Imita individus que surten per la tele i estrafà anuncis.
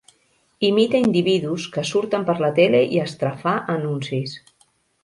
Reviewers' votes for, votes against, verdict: 5, 0, accepted